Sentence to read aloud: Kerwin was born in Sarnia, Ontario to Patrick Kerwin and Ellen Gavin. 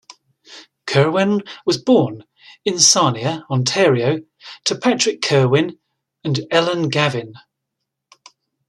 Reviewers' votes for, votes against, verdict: 2, 0, accepted